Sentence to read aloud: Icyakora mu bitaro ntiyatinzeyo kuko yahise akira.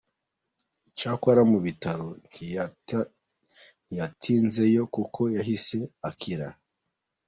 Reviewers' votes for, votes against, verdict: 2, 0, accepted